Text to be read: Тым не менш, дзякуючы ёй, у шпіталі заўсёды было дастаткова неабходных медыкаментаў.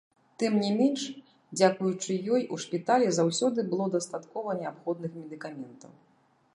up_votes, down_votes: 0, 2